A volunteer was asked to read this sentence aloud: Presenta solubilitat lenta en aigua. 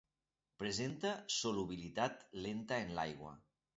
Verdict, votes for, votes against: rejected, 1, 2